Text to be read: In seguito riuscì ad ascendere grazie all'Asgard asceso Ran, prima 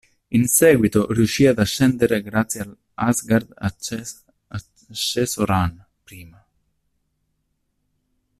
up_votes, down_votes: 0, 2